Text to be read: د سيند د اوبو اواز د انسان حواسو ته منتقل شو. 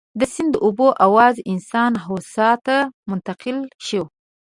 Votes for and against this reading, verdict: 0, 2, rejected